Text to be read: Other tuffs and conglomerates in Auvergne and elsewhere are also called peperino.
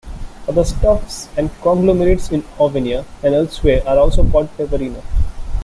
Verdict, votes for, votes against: rejected, 1, 2